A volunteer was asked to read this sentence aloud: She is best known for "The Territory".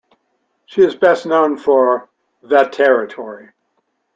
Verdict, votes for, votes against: accepted, 2, 0